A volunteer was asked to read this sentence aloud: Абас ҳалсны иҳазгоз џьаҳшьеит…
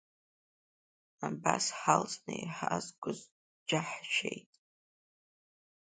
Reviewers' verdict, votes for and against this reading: accepted, 2, 0